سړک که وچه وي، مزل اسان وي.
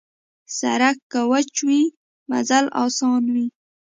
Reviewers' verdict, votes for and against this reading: rejected, 0, 2